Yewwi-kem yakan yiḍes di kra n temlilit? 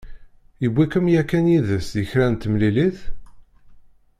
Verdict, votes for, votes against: rejected, 0, 2